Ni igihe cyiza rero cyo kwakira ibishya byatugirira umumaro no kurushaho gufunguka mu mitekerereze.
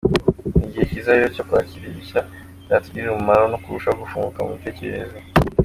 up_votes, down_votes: 2, 0